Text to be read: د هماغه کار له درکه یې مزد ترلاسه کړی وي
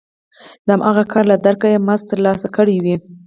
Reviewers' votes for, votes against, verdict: 4, 0, accepted